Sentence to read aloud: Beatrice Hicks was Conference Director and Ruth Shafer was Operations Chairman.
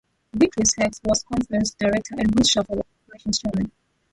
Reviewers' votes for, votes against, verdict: 0, 2, rejected